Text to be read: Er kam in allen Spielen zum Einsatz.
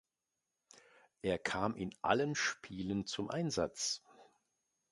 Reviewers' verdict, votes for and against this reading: accepted, 2, 0